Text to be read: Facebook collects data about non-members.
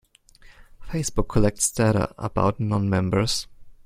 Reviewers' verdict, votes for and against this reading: accepted, 2, 0